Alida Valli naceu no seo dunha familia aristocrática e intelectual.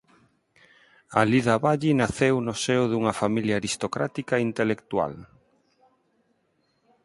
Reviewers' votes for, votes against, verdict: 4, 0, accepted